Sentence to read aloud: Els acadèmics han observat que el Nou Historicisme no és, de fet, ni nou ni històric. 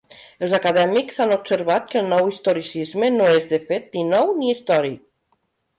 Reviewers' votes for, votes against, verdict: 2, 0, accepted